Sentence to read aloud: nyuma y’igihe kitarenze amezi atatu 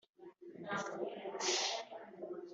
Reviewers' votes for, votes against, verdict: 1, 2, rejected